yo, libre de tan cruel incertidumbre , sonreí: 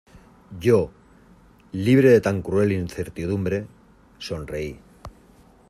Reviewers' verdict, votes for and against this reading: accepted, 2, 0